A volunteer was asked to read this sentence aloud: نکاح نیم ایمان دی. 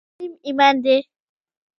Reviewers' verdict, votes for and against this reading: rejected, 0, 2